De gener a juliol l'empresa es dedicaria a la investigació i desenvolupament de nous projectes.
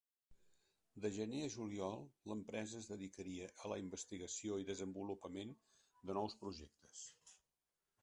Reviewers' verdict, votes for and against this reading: accepted, 2, 1